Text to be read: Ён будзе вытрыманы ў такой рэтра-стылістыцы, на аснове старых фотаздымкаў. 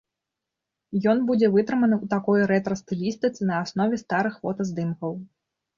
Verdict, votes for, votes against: accepted, 3, 0